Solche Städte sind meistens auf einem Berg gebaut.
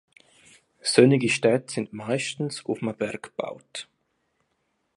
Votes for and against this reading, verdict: 0, 2, rejected